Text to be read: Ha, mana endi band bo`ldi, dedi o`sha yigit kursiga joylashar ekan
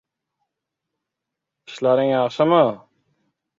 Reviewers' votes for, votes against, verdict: 0, 2, rejected